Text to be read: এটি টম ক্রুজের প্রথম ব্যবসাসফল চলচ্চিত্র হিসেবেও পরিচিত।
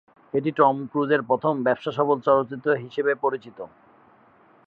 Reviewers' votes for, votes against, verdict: 13, 1, accepted